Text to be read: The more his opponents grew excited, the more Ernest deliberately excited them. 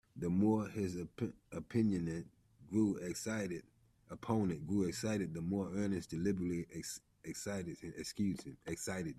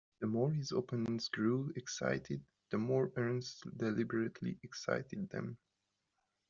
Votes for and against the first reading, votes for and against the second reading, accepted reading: 0, 2, 2, 0, second